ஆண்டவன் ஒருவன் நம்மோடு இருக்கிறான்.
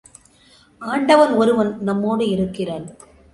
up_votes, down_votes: 2, 0